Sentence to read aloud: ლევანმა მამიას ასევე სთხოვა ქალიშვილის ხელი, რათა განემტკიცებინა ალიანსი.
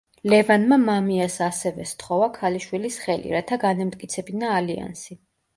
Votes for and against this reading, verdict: 2, 0, accepted